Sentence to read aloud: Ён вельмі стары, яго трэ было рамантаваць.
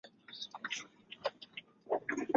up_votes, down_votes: 0, 2